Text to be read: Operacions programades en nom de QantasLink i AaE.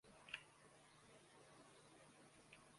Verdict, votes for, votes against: rejected, 0, 2